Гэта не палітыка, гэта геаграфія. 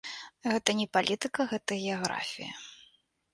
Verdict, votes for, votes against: accepted, 3, 0